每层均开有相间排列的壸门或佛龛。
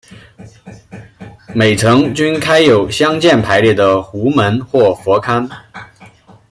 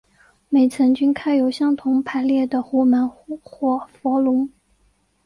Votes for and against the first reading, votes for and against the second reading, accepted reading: 2, 1, 1, 2, first